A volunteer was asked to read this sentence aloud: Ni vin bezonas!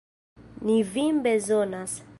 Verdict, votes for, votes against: accepted, 2, 0